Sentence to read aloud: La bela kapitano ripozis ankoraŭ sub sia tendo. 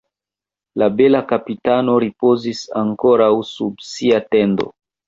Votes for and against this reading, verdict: 1, 2, rejected